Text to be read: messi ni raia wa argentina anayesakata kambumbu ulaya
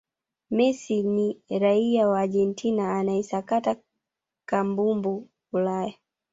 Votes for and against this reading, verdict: 0, 2, rejected